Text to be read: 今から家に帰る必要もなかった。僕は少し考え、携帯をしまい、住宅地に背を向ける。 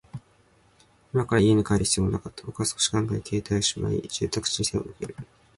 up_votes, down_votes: 2, 0